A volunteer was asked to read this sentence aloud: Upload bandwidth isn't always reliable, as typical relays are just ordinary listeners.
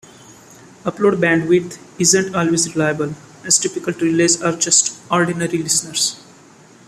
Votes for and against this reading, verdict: 3, 0, accepted